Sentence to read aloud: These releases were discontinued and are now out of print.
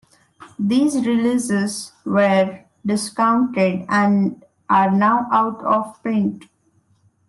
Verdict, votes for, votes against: rejected, 1, 2